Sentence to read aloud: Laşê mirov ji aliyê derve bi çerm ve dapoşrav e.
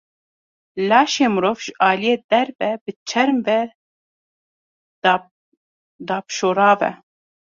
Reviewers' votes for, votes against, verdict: 0, 2, rejected